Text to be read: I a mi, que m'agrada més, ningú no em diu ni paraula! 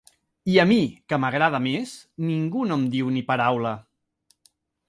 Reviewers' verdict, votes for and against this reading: accepted, 2, 0